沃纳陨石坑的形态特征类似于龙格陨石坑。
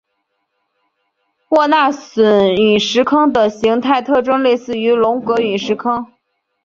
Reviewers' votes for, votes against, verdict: 3, 0, accepted